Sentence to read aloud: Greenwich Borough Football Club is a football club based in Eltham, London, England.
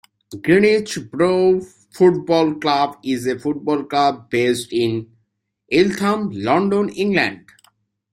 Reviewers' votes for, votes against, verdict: 2, 0, accepted